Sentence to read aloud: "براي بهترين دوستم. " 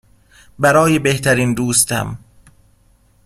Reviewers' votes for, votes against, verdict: 2, 0, accepted